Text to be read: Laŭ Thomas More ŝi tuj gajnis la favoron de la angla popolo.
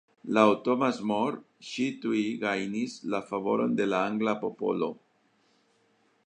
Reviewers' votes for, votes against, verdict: 2, 1, accepted